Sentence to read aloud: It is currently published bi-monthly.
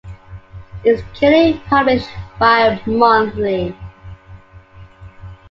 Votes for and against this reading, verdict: 0, 2, rejected